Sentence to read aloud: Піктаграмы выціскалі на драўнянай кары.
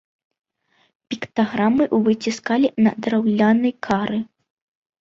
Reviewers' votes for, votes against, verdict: 0, 2, rejected